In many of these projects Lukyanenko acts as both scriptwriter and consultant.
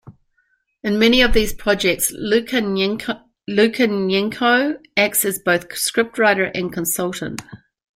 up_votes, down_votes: 0, 2